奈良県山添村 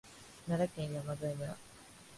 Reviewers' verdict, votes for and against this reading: accepted, 2, 0